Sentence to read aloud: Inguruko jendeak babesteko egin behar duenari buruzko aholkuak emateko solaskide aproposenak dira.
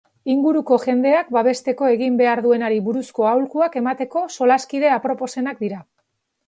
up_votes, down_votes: 2, 0